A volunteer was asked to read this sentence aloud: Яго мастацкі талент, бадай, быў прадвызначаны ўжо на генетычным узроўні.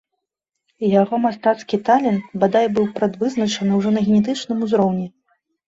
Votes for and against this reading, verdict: 2, 0, accepted